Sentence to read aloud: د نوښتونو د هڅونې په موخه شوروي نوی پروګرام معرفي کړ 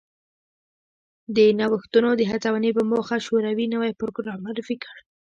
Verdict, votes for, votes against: rejected, 0, 2